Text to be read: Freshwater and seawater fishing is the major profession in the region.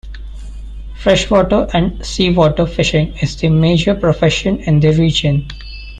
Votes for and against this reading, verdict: 2, 0, accepted